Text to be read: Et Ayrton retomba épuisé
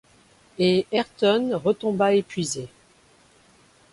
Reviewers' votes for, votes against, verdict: 2, 0, accepted